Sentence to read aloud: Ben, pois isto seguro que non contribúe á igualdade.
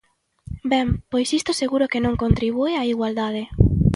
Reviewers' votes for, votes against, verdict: 2, 0, accepted